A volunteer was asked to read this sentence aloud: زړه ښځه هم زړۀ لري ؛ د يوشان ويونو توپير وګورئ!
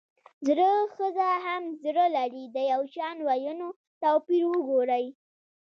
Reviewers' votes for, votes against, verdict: 1, 2, rejected